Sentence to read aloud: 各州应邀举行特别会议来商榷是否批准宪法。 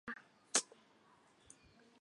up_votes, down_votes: 0, 5